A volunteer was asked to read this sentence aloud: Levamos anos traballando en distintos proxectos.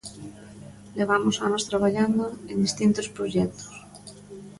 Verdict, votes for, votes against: rejected, 0, 2